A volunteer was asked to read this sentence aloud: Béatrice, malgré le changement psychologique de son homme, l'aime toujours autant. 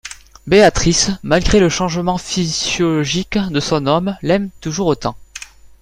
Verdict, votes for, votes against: rejected, 0, 2